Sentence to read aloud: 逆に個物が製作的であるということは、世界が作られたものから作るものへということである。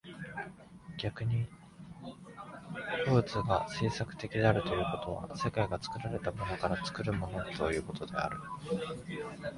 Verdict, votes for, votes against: rejected, 2, 3